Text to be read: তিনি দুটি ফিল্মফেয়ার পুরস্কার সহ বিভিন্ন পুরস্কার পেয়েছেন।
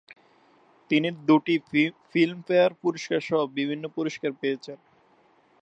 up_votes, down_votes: 2, 0